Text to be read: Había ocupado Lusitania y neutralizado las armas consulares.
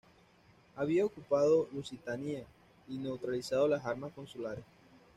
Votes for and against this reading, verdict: 1, 2, rejected